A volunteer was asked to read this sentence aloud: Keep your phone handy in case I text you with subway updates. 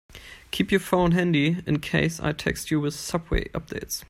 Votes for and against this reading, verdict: 2, 0, accepted